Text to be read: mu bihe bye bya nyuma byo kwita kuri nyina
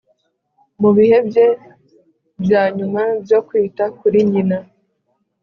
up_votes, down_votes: 3, 0